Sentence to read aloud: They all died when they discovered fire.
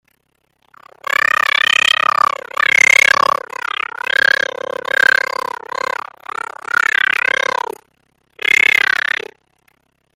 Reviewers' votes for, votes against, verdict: 0, 2, rejected